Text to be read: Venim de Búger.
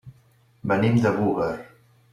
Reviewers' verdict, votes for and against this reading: rejected, 1, 2